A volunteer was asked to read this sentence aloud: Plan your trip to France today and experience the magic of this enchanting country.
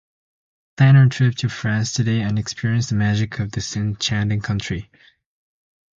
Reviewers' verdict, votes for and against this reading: rejected, 0, 2